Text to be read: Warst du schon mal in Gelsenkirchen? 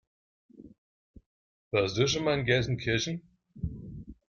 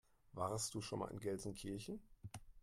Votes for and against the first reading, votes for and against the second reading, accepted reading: 0, 2, 2, 0, second